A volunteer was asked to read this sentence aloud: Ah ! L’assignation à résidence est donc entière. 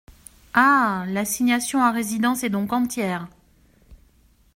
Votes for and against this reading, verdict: 2, 0, accepted